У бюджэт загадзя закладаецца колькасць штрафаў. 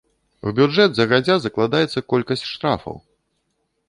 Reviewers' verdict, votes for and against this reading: rejected, 0, 2